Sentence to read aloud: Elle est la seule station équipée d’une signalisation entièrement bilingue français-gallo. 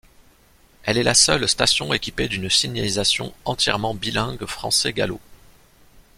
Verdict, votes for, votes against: accepted, 2, 0